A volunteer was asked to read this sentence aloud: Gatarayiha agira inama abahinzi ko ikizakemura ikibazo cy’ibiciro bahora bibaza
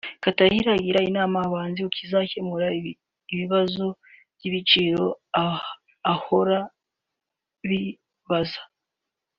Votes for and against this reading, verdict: 0, 2, rejected